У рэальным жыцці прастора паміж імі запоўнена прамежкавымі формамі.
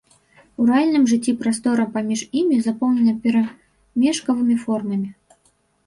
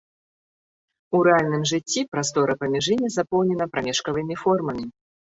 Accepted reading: second